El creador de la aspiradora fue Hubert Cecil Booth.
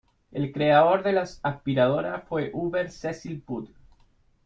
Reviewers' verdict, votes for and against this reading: rejected, 0, 2